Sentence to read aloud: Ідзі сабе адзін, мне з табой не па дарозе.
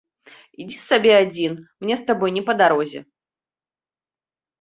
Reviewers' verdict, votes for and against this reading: accepted, 2, 0